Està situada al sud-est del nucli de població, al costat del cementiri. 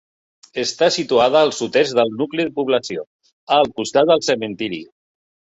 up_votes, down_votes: 3, 0